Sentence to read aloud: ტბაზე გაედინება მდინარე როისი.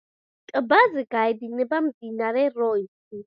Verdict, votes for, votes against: accepted, 2, 0